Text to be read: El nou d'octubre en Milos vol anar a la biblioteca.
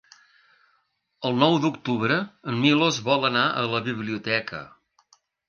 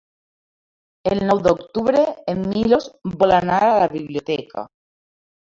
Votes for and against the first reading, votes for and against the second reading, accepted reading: 4, 0, 0, 2, first